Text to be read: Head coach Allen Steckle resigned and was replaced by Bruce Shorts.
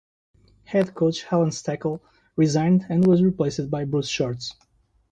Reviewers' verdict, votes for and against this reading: rejected, 0, 2